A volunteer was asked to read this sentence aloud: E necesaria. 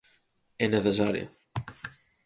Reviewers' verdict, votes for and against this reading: accepted, 4, 0